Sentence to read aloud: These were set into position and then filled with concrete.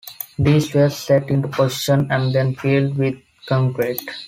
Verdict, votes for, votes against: accepted, 2, 0